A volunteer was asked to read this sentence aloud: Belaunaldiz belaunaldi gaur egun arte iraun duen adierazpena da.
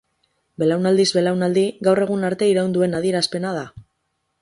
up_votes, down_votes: 2, 2